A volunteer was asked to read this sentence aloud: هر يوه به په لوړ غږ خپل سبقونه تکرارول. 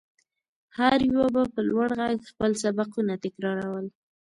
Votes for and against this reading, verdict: 2, 1, accepted